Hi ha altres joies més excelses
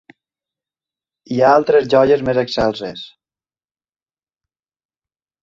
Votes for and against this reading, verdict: 2, 0, accepted